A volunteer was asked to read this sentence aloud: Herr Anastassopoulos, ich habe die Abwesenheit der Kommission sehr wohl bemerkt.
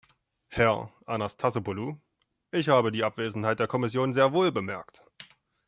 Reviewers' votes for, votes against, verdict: 1, 2, rejected